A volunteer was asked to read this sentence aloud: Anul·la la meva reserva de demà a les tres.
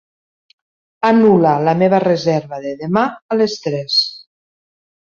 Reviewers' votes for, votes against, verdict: 2, 0, accepted